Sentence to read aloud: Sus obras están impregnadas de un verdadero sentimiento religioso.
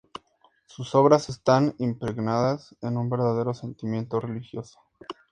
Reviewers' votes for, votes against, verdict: 2, 0, accepted